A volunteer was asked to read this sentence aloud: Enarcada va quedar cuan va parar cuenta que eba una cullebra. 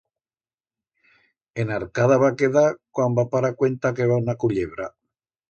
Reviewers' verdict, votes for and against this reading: accepted, 2, 0